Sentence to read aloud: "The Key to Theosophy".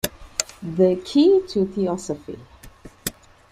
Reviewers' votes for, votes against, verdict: 2, 0, accepted